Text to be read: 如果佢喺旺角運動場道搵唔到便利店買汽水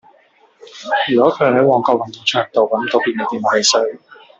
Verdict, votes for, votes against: rejected, 1, 2